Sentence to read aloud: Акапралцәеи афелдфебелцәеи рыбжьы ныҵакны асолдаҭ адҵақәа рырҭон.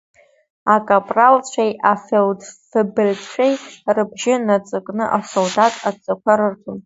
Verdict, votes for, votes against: rejected, 0, 2